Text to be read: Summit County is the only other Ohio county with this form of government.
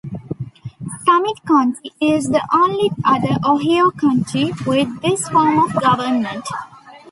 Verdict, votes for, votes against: rejected, 0, 2